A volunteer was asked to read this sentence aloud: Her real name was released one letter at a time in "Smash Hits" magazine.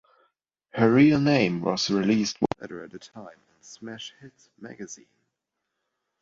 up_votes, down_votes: 1, 2